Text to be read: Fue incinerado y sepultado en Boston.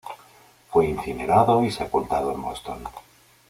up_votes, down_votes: 2, 0